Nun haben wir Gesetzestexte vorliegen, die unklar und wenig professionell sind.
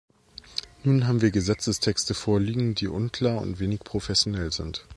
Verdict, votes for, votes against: accepted, 3, 0